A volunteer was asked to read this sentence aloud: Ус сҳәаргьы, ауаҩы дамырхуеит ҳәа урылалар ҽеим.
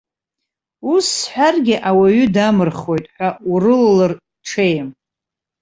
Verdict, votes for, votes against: rejected, 1, 2